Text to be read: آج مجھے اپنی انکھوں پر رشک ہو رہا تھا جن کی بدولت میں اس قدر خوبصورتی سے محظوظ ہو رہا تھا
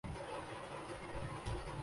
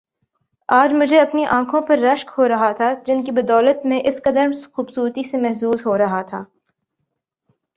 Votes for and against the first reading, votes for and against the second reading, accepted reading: 0, 2, 4, 0, second